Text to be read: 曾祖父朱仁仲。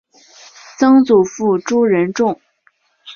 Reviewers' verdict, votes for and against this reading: accepted, 3, 0